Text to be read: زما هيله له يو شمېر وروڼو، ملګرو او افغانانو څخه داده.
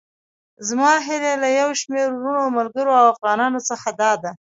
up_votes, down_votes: 2, 0